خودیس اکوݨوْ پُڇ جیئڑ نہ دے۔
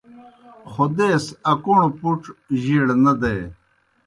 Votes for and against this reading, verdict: 2, 0, accepted